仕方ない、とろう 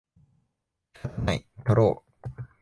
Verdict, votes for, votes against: rejected, 1, 2